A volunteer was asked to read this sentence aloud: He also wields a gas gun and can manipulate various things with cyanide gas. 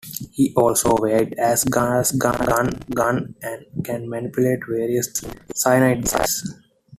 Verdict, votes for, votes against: rejected, 0, 2